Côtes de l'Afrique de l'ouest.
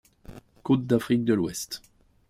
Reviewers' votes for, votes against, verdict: 1, 2, rejected